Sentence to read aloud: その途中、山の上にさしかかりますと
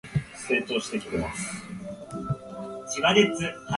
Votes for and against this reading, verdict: 0, 2, rejected